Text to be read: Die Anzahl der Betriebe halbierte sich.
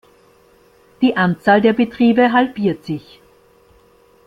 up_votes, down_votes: 0, 2